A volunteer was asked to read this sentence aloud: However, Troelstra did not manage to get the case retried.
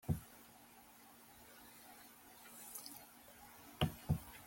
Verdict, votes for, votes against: rejected, 0, 2